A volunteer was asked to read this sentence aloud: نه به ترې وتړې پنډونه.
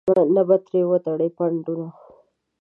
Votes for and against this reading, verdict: 1, 2, rejected